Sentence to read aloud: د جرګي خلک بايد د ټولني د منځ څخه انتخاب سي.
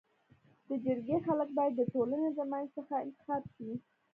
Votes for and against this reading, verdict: 2, 0, accepted